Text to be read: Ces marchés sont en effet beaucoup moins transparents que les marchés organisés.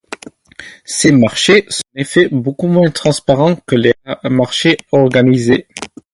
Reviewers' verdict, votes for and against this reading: accepted, 4, 0